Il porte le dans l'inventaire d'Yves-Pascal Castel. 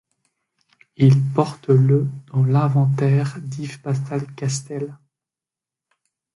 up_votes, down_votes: 2, 0